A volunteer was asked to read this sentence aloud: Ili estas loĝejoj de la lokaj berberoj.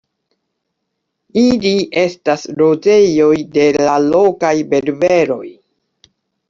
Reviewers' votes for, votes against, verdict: 2, 0, accepted